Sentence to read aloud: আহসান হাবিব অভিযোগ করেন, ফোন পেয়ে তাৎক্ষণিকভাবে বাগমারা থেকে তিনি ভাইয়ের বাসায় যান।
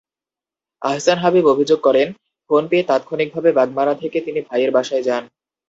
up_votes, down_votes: 2, 0